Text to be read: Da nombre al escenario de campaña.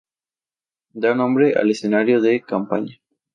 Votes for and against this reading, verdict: 2, 0, accepted